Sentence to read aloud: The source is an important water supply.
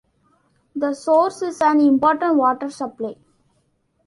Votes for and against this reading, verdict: 0, 2, rejected